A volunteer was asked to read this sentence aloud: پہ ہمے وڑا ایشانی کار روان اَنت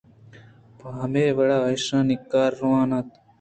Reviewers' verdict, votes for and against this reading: accepted, 2, 0